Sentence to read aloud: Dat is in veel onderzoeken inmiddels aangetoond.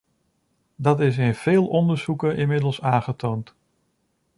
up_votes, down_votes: 2, 0